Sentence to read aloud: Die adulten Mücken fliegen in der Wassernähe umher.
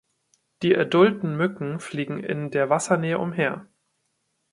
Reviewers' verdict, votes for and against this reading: accepted, 2, 0